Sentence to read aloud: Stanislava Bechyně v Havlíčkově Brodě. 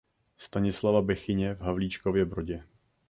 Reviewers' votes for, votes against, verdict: 2, 0, accepted